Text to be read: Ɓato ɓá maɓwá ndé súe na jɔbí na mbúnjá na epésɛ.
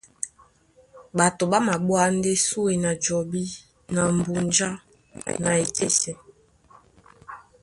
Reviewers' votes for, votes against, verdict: 2, 0, accepted